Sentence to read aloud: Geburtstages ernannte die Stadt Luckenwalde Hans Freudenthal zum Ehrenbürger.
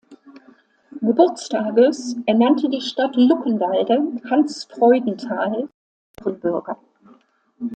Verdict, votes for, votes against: rejected, 0, 2